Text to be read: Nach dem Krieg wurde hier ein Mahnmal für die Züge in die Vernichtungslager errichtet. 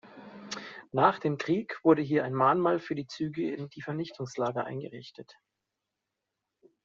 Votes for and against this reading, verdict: 0, 2, rejected